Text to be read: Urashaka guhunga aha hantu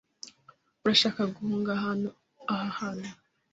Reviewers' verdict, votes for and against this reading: rejected, 1, 2